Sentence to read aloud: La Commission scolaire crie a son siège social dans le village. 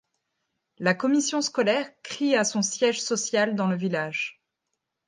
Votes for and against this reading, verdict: 2, 1, accepted